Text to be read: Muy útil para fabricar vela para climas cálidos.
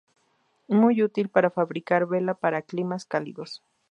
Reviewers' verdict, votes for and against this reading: accepted, 2, 0